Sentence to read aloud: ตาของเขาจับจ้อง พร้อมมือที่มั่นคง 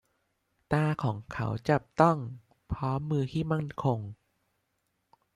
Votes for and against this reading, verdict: 0, 2, rejected